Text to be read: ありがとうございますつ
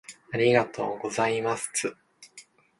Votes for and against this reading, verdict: 1, 2, rejected